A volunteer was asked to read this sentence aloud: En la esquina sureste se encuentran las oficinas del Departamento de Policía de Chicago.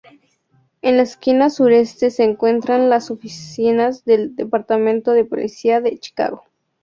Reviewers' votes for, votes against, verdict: 2, 0, accepted